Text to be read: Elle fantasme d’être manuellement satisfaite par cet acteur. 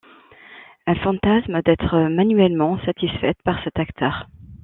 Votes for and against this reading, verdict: 2, 0, accepted